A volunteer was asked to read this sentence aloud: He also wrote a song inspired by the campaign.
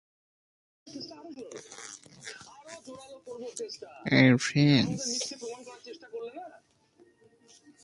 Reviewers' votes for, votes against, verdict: 0, 5, rejected